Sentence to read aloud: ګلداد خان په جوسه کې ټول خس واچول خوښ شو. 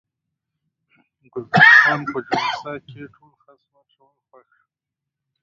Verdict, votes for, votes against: rejected, 0, 2